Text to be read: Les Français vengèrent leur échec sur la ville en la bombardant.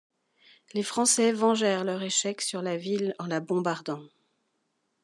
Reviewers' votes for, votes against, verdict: 2, 0, accepted